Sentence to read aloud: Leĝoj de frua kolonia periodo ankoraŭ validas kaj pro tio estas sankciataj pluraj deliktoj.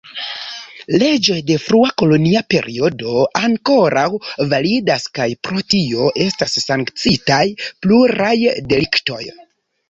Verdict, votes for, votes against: rejected, 1, 2